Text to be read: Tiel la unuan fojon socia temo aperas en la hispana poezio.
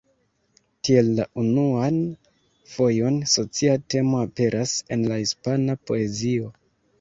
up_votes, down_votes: 1, 2